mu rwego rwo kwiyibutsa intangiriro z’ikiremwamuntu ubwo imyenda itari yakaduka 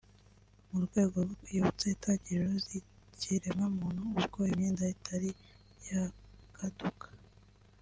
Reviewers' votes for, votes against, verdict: 3, 2, accepted